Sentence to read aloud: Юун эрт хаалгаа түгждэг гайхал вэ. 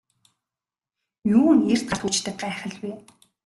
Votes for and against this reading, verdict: 0, 2, rejected